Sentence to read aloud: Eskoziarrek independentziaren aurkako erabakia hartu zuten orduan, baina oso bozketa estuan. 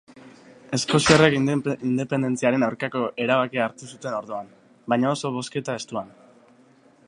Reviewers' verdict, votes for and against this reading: rejected, 0, 2